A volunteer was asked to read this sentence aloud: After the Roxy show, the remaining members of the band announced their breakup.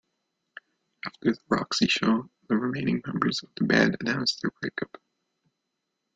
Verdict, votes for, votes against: rejected, 0, 2